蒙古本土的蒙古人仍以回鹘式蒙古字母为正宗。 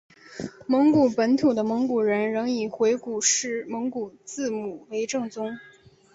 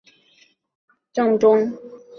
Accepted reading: first